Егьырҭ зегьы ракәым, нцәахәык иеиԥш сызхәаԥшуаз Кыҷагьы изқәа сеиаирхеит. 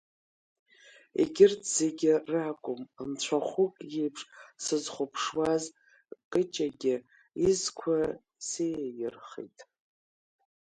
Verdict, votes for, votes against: rejected, 1, 2